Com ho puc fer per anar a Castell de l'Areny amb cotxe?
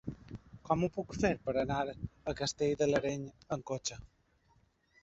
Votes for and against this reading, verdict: 1, 2, rejected